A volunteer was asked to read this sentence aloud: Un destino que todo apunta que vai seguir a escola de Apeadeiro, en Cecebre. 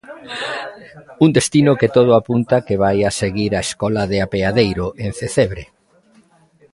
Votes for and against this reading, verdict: 0, 2, rejected